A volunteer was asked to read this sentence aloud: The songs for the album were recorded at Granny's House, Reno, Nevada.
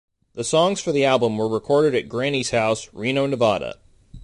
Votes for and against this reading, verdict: 2, 0, accepted